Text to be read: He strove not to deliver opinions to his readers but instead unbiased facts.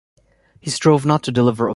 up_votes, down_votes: 1, 2